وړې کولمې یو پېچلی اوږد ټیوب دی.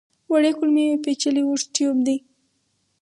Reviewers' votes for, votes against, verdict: 2, 2, rejected